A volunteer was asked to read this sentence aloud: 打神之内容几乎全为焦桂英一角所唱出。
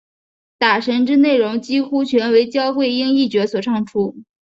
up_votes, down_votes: 3, 0